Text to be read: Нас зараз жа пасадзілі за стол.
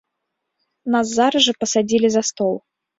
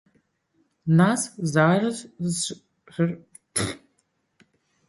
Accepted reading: first